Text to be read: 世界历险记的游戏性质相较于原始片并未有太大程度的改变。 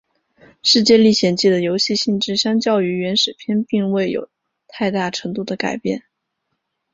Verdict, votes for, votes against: accepted, 2, 0